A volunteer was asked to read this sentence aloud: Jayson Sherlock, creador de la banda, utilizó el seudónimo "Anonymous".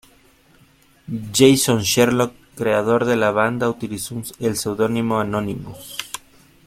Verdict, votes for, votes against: rejected, 1, 2